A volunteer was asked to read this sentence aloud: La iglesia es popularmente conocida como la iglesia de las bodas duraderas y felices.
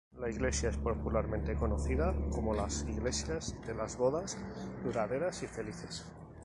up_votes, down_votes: 0, 2